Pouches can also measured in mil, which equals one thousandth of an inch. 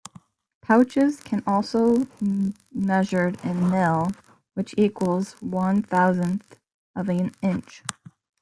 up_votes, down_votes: 2, 0